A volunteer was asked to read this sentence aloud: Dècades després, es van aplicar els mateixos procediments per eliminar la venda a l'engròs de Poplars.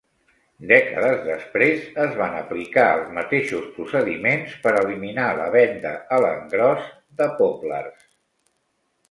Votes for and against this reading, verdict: 2, 0, accepted